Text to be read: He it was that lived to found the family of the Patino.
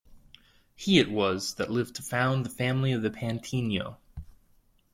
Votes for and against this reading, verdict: 1, 2, rejected